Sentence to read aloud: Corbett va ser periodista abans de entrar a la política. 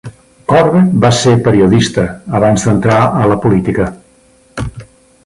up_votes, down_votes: 3, 0